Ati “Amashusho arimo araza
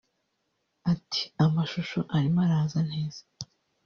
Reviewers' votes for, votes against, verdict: 1, 2, rejected